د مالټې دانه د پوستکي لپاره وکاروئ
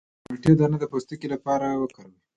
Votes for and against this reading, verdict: 2, 0, accepted